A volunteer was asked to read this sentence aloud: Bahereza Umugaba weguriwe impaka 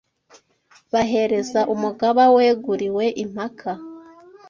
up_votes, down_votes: 2, 0